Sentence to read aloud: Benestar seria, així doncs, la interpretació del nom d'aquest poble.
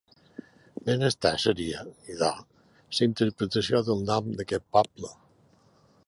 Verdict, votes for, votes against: rejected, 0, 2